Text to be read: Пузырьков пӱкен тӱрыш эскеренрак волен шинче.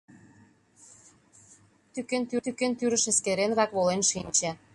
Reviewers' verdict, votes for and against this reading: rejected, 0, 2